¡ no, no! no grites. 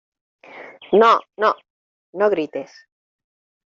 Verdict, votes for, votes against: accepted, 2, 0